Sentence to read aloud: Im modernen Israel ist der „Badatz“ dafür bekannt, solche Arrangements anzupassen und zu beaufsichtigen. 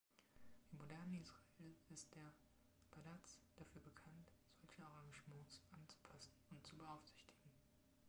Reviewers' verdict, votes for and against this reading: accepted, 2, 0